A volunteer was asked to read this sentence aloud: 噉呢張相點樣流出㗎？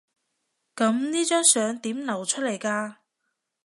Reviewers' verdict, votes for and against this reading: rejected, 1, 2